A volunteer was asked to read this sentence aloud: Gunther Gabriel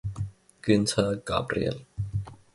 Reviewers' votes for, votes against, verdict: 1, 2, rejected